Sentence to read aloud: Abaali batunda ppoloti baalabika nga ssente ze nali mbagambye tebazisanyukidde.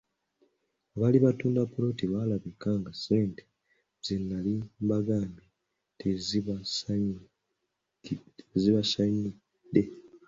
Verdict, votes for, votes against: rejected, 0, 2